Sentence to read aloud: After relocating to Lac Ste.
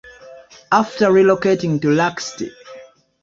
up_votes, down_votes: 2, 1